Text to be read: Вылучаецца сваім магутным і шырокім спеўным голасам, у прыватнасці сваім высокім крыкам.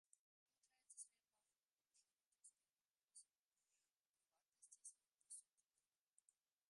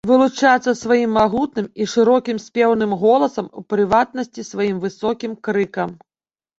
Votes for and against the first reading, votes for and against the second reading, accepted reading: 0, 2, 2, 1, second